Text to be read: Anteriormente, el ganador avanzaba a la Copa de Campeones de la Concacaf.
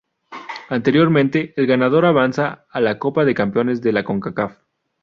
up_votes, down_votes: 2, 2